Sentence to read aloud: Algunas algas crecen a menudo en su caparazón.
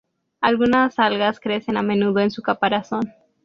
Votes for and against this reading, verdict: 4, 0, accepted